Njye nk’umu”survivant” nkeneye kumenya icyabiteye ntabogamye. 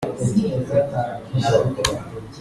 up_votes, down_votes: 0, 2